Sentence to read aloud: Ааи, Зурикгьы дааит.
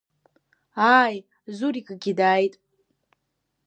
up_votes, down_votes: 2, 0